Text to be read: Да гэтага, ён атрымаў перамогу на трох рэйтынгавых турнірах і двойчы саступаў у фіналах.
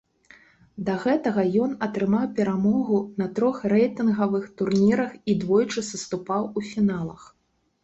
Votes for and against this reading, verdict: 2, 0, accepted